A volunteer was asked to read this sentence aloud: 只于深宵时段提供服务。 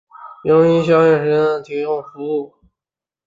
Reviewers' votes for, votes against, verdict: 0, 4, rejected